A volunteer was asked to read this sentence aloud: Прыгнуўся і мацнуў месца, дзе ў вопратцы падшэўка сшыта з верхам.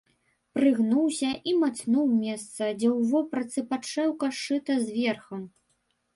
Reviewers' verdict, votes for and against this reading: rejected, 1, 2